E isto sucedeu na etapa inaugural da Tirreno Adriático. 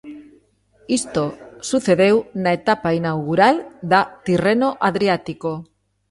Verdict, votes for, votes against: rejected, 1, 2